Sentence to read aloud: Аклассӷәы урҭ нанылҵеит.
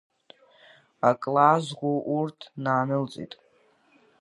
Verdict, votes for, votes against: accepted, 2, 1